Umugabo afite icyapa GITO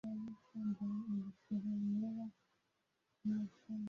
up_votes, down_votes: 0, 2